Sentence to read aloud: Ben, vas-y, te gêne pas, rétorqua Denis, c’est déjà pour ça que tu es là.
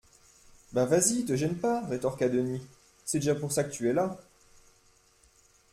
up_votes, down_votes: 2, 0